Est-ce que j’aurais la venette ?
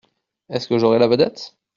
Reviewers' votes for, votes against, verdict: 1, 2, rejected